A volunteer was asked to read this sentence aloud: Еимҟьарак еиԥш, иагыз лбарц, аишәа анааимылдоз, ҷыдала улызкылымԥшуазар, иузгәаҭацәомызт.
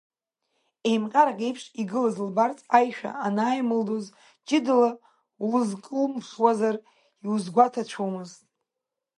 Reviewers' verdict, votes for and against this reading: rejected, 1, 2